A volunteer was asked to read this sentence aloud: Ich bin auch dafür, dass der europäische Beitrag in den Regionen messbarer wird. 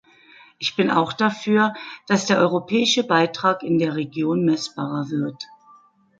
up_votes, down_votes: 1, 2